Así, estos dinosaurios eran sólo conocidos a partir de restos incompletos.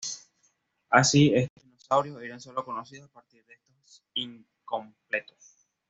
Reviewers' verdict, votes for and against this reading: accepted, 2, 1